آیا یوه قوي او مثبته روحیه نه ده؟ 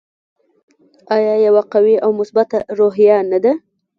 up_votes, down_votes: 1, 2